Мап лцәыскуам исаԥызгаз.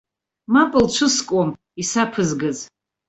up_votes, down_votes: 1, 2